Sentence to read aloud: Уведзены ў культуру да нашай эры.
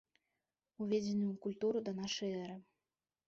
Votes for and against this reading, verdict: 3, 0, accepted